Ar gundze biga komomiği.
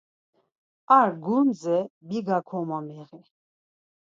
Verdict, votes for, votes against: accepted, 4, 0